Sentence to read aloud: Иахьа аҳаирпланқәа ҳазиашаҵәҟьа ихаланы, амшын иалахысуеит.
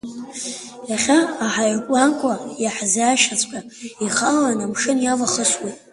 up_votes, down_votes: 0, 2